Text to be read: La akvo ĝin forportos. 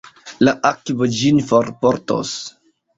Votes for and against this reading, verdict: 2, 1, accepted